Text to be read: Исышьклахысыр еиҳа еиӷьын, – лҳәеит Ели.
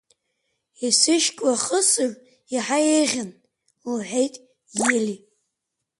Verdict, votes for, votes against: accepted, 3, 1